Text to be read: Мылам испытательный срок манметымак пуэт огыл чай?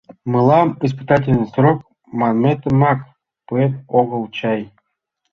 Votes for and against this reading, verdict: 2, 0, accepted